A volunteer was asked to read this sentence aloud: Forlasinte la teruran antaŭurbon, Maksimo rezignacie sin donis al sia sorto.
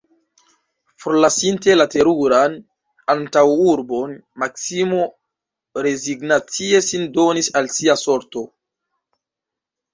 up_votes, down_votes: 4, 2